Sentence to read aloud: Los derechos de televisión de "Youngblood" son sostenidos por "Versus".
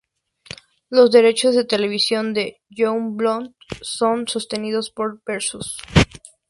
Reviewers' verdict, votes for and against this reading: accepted, 4, 0